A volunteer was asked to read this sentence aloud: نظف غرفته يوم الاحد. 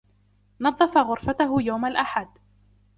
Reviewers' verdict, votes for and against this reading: accepted, 2, 0